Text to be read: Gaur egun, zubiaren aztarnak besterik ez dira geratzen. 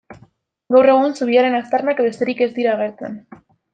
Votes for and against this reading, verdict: 1, 2, rejected